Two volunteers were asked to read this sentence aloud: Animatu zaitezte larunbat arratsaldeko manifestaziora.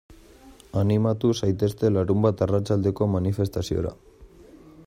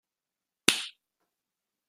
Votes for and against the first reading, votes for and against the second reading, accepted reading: 2, 0, 0, 2, first